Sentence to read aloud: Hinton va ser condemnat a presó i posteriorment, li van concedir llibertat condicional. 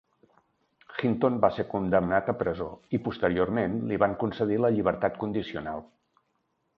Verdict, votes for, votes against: rejected, 1, 2